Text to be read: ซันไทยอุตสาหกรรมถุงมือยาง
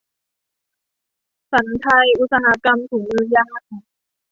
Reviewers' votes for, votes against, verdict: 0, 2, rejected